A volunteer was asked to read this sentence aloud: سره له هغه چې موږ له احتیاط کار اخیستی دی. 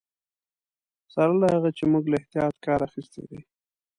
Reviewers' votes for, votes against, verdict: 2, 0, accepted